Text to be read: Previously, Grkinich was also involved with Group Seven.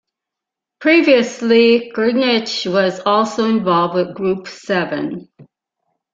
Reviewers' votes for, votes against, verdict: 3, 0, accepted